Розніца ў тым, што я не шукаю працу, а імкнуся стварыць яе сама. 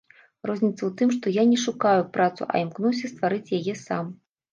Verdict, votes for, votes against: rejected, 0, 2